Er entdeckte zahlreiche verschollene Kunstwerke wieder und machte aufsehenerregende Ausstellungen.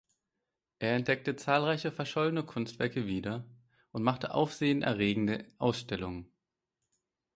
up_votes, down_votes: 4, 0